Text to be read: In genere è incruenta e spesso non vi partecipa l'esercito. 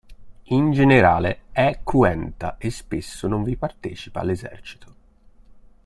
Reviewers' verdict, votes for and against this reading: rejected, 0, 2